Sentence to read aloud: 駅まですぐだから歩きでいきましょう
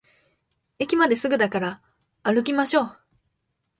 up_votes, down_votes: 0, 2